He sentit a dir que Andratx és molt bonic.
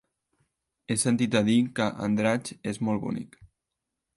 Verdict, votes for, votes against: accepted, 4, 0